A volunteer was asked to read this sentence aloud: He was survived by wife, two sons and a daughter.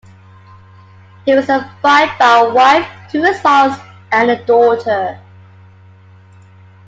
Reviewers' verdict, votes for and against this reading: rejected, 0, 2